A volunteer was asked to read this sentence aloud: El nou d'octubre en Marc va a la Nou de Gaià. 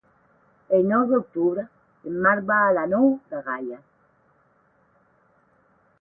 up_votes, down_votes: 8, 0